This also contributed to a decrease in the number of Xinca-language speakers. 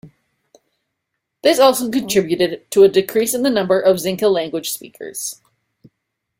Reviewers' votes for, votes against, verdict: 2, 0, accepted